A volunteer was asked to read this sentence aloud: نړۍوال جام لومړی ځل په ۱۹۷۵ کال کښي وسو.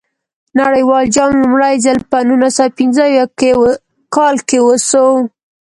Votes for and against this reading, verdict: 0, 2, rejected